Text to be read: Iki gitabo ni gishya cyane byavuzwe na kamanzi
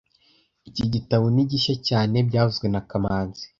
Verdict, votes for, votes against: accepted, 2, 0